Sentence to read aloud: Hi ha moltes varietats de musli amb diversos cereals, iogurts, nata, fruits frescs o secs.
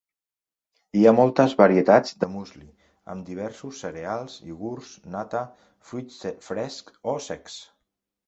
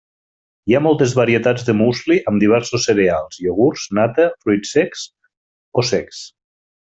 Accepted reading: second